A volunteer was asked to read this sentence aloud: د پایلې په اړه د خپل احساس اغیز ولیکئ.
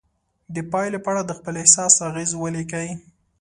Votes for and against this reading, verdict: 2, 0, accepted